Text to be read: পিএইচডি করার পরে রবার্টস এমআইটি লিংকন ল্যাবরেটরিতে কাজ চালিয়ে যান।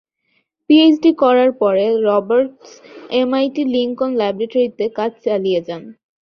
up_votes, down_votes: 2, 0